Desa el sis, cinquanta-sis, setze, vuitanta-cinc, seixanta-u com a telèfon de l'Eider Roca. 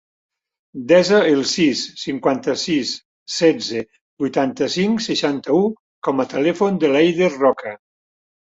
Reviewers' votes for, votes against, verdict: 3, 0, accepted